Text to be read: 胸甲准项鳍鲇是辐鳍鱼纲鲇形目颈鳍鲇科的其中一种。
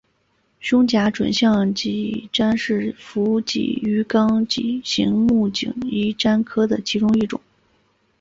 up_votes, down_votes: 3, 1